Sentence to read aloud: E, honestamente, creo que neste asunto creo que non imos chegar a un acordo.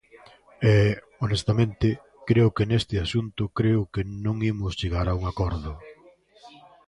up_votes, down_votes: 1, 2